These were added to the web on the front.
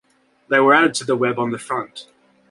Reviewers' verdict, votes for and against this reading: rejected, 0, 2